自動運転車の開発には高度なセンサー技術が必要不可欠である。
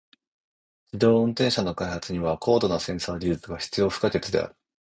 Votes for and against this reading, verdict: 2, 0, accepted